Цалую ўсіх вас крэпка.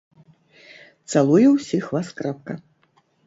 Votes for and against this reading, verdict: 2, 0, accepted